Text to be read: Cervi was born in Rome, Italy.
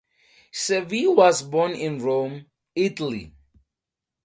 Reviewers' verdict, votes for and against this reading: accepted, 4, 0